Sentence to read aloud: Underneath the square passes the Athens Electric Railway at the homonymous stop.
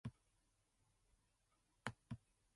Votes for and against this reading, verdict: 0, 2, rejected